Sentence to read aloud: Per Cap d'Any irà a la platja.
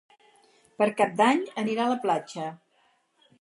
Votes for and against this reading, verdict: 0, 4, rejected